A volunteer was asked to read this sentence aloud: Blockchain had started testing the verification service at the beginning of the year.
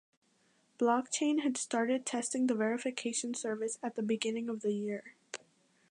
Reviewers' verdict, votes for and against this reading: accepted, 2, 0